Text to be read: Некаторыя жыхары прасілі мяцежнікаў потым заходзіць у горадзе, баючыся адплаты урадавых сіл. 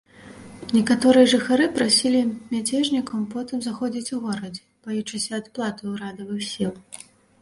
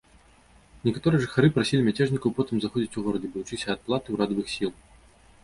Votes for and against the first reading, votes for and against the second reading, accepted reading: 2, 0, 1, 2, first